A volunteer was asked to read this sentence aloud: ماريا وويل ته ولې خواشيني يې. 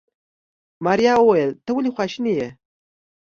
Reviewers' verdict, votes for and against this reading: accepted, 2, 0